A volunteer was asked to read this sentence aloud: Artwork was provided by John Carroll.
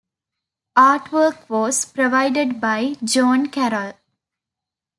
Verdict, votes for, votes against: accepted, 2, 1